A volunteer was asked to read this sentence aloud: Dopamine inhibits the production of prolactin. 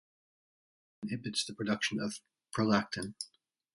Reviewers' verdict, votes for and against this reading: rejected, 0, 2